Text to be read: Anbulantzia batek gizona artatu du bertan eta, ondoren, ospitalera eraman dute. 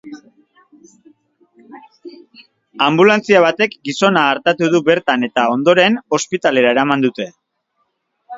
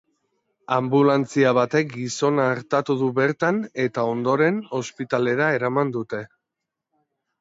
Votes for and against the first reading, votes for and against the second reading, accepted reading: 1, 2, 2, 0, second